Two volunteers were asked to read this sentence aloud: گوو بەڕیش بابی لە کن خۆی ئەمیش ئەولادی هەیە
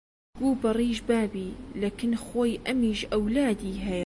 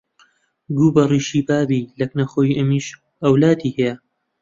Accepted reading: first